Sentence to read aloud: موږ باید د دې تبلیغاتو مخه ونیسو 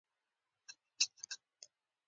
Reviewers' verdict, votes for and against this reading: accepted, 2, 1